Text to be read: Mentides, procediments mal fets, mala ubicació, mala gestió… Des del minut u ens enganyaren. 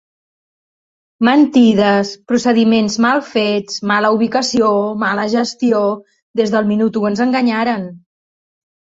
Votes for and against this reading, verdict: 2, 0, accepted